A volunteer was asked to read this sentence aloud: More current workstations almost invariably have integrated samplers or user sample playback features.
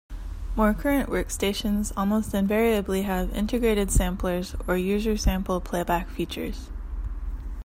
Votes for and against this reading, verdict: 2, 0, accepted